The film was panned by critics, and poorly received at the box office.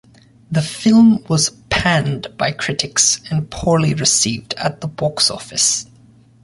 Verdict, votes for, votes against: accepted, 2, 0